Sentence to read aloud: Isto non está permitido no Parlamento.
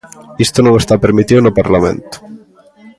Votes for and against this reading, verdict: 0, 2, rejected